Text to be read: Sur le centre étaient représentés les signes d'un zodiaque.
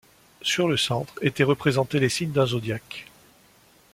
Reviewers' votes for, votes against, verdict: 2, 0, accepted